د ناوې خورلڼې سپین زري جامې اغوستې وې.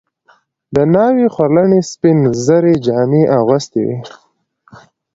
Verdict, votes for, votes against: accepted, 2, 0